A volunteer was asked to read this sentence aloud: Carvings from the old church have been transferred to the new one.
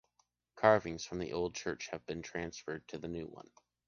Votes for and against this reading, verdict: 2, 0, accepted